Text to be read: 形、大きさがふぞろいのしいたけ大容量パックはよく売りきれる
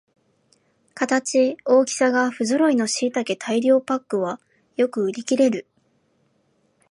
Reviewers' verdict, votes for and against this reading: rejected, 0, 2